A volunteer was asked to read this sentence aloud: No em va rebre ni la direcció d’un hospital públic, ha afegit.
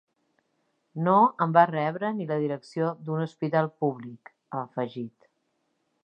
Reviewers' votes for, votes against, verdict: 3, 0, accepted